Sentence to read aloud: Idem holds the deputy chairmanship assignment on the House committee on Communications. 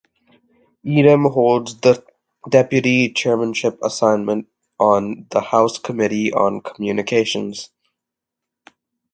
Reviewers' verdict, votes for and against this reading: accepted, 2, 0